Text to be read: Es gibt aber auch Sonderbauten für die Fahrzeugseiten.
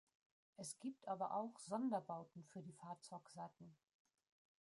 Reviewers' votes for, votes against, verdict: 0, 2, rejected